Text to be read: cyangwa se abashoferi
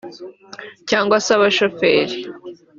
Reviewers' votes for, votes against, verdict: 2, 0, accepted